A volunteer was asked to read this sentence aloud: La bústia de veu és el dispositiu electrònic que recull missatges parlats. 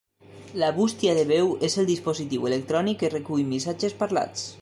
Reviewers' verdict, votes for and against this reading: accepted, 3, 0